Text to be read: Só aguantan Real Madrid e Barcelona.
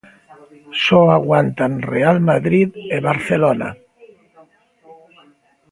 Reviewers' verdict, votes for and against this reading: accepted, 3, 1